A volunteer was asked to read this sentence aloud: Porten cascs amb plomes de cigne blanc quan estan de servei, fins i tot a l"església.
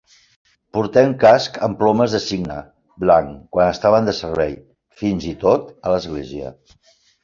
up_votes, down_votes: 1, 2